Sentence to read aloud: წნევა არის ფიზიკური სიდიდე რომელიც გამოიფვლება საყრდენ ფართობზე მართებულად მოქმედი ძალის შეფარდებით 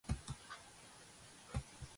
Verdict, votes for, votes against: rejected, 0, 2